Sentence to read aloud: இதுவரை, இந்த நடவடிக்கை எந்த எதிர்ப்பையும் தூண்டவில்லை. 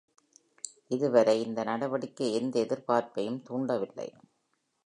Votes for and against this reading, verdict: 2, 0, accepted